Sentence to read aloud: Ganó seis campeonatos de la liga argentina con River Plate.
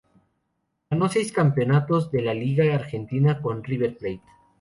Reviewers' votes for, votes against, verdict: 0, 2, rejected